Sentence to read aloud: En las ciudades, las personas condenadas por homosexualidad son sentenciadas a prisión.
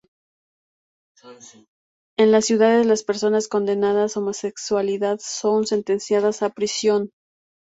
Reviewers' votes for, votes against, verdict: 0, 2, rejected